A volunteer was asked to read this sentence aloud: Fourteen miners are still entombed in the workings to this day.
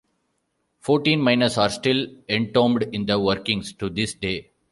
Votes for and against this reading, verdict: 2, 0, accepted